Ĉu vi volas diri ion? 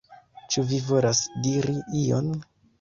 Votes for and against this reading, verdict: 2, 1, accepted